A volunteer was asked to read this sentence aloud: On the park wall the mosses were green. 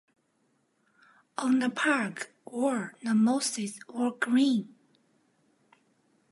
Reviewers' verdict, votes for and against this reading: rejected, 0, 2